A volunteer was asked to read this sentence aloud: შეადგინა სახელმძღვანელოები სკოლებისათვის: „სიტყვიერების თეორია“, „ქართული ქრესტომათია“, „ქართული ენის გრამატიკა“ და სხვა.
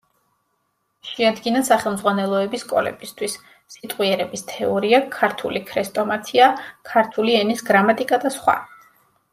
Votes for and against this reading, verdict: 0, 2, rejected